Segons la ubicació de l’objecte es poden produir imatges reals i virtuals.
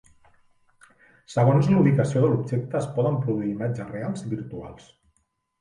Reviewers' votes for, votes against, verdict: 1, 2, rejected